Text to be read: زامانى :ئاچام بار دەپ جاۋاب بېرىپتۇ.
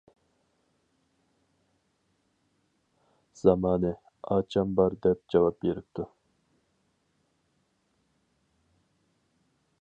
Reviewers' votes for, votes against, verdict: 2, 2, rejected